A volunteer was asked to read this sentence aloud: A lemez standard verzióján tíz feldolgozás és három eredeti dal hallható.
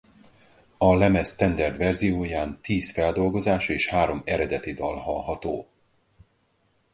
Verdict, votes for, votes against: accepted, 4, 0